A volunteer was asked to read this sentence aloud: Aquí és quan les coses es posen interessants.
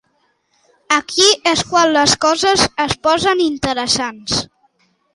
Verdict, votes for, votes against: accepted, 2, 0